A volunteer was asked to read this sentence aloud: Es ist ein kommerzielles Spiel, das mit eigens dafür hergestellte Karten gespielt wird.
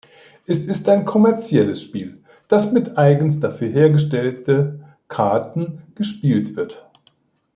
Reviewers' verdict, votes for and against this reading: accepted, 2, 1